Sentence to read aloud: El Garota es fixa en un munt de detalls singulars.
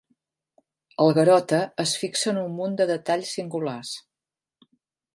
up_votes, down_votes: 2, 0